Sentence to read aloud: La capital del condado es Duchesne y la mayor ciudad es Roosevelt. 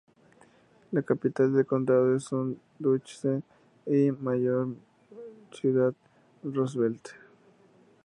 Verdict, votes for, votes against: rejected, 0, 2